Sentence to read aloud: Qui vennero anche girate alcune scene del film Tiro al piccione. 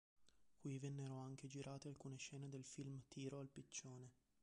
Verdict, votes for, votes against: accepted, 2, 0